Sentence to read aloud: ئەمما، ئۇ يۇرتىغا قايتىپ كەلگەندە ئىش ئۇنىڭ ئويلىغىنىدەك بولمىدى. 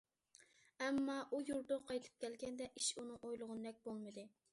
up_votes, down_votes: 2, 0